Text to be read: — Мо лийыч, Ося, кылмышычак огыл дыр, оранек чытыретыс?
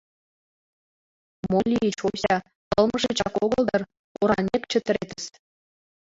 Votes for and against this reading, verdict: 0, 2, rejected